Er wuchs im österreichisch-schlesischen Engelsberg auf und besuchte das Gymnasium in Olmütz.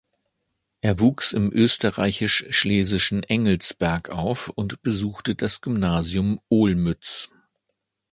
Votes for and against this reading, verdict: 2, 1, accepted